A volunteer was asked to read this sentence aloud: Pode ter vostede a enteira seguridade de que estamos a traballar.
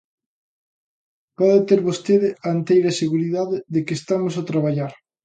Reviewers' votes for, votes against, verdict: 2, 0, accepted